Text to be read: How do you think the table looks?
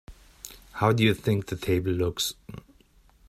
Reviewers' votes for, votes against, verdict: 2, 0, accepted